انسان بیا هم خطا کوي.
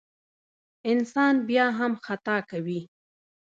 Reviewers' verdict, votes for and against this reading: rejected, 0, 2